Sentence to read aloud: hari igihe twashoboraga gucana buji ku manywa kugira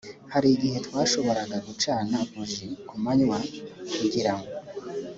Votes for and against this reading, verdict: 4, 0, accepted